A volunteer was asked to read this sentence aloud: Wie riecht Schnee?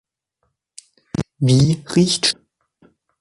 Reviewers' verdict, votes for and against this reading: rejected, 0, 2